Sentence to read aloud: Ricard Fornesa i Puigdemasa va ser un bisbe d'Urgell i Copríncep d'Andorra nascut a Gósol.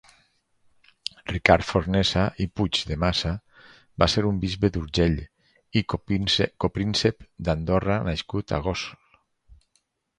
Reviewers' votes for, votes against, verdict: 2, 2, rejected